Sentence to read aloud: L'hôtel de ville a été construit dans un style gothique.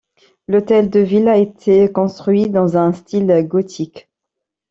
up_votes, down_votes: 2, 0